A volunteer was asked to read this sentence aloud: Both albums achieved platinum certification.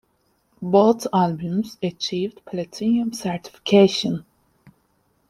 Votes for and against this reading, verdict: 1, 3, rejected